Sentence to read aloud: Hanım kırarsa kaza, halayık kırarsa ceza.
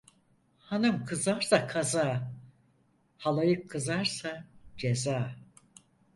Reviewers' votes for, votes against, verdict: 2, 4, rejected